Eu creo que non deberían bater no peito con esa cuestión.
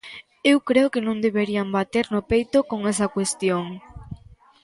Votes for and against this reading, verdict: 2, 0, accepted